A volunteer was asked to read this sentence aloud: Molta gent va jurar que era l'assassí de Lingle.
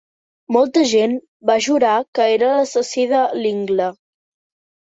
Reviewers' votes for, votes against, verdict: 2, 0, accepted